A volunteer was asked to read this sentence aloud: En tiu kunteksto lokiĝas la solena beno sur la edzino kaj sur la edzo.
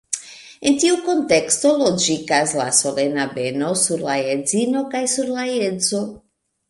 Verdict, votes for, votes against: rejected, 1, 2